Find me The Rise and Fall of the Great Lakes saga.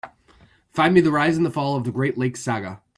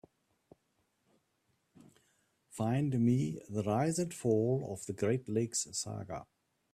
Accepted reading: second